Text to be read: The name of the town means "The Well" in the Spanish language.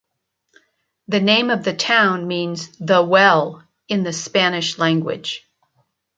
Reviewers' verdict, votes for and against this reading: accepted, 2, 0